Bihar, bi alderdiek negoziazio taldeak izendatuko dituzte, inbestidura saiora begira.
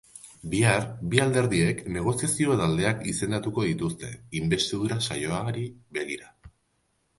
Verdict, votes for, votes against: rejected, 1, 2